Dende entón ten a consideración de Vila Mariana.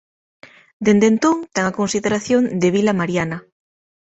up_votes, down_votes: 3, 0